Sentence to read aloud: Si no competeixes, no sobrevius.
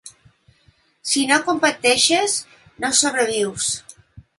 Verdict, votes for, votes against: accepted, 2, 0